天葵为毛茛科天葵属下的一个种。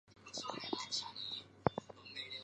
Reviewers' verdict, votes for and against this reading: rejected, 2, 5